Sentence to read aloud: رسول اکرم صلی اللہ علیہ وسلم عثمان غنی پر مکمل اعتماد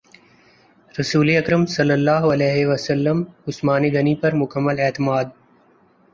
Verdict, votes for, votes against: accepted, 2, 0